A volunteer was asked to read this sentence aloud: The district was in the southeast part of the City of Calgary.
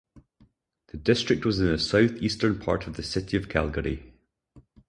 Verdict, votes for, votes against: rejected, 2, 2